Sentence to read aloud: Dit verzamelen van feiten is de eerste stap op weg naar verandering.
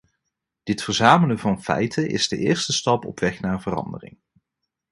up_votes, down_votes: 2, 0